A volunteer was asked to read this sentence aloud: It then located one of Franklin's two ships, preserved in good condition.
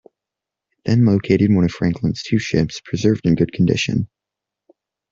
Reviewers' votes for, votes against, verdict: 2, 1, accepted